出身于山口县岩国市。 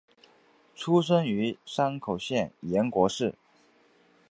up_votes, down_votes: 2, 0